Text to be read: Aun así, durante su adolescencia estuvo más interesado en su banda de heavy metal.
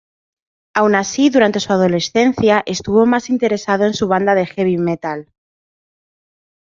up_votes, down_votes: 2, 0